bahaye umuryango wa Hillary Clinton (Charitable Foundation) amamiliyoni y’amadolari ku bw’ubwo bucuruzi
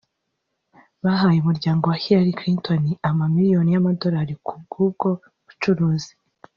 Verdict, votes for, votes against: rejected, 0, 2